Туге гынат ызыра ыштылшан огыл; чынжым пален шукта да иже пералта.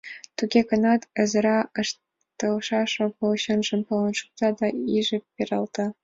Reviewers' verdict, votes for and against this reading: accepted, 2, 0